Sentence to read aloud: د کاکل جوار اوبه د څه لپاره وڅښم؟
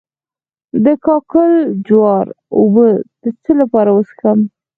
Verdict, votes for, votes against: rejected, 2, 4